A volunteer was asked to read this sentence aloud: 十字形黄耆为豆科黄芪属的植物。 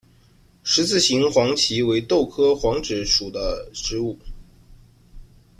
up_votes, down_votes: 1, 2